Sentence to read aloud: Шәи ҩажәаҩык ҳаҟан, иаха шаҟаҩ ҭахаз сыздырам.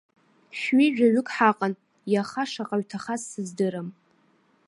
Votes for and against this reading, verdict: 1, 2, rejected